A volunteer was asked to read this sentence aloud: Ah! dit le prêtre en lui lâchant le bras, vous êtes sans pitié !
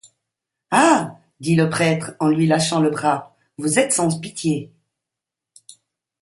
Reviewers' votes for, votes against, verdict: 0, 2, rejected